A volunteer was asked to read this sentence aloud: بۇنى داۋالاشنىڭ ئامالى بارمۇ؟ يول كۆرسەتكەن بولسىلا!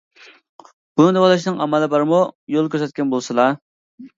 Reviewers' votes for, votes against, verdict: 2, 0, accepted